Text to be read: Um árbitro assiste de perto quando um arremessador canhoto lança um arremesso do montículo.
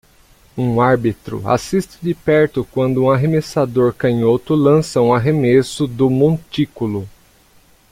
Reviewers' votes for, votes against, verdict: 2, 0, accepted